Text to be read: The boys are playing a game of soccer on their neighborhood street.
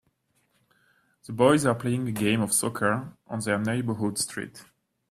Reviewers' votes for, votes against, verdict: 2, 0, accepted